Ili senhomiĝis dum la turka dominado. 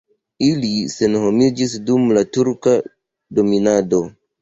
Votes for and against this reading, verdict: 2, 0, accepted